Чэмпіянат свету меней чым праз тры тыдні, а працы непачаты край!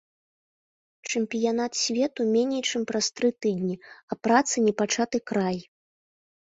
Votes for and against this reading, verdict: 3, 0, accepted